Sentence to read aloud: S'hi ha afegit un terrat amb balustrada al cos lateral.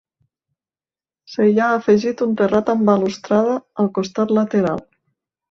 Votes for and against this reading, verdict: 2, 1, accepted